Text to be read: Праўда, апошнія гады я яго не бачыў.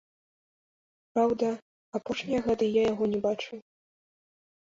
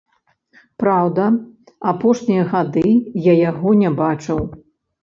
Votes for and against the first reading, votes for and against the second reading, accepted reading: 2, 0, 1, 2, first